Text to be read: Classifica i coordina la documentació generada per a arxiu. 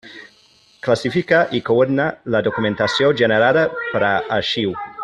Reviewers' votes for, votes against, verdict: 0, 2, rejected